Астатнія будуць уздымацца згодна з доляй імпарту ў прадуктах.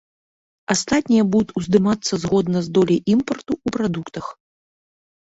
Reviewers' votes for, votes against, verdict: 0, 2, rejected